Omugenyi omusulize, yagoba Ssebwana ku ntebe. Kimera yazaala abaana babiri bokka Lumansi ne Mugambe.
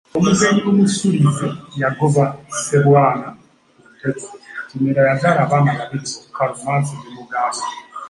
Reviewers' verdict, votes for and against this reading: rejected, 1, 3